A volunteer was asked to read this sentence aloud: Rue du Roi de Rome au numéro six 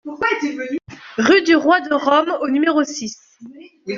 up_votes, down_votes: 1, 2